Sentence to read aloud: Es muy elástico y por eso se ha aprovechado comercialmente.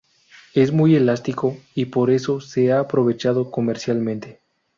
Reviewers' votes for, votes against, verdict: 2, 0, accepted